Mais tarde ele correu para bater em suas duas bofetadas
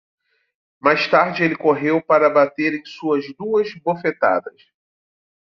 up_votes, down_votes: 2, 0